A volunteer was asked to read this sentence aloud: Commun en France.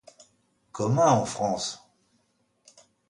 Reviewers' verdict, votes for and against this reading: accepted, 2, 0